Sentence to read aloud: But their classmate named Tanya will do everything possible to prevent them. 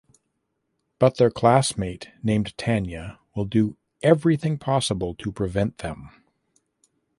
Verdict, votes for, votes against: accepted, 2, 0